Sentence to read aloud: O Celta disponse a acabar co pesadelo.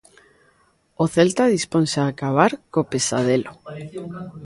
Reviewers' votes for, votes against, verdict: 1, 2, rejected